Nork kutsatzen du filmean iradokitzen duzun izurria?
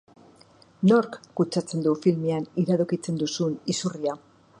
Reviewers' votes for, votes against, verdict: 3, 0, accepted